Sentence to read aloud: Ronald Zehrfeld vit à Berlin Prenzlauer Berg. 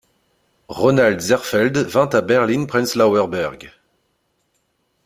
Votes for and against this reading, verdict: 1, 2, rejected